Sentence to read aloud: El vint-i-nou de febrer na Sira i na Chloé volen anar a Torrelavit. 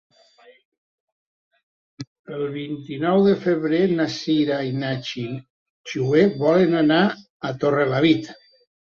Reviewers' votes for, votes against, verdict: 0, 2, rejected